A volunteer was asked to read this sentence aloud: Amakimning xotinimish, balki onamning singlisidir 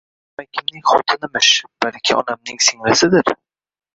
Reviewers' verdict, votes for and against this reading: rejected, 0, 2